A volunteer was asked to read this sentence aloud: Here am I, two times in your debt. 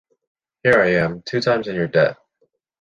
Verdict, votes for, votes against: rejected, 0, 2